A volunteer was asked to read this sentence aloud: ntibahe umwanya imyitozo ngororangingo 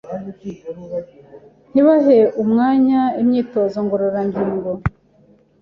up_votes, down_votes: 2, 0